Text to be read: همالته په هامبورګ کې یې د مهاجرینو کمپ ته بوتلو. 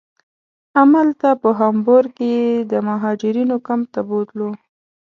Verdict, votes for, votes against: accepted, 2, 0